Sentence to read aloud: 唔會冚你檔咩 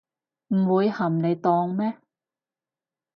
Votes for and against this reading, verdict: 2, 2, rejected